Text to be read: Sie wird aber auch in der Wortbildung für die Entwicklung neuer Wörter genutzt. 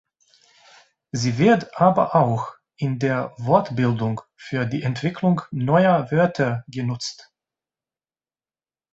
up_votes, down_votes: 2, 0